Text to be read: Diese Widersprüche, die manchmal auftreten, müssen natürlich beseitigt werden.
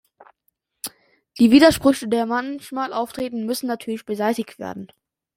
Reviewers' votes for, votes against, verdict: 0, 3, rejected